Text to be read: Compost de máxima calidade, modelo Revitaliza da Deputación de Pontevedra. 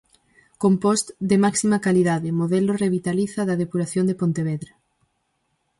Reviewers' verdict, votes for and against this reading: rejected, 0, 4